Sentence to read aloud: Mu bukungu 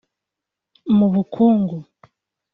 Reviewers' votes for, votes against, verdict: 3, 0, accepted